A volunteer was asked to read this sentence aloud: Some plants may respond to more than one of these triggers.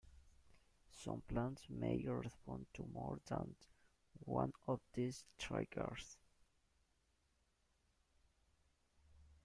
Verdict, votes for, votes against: rejected, 1, 2